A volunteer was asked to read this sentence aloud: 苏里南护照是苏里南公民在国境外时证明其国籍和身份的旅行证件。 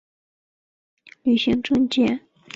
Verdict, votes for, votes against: rejected, 0, 3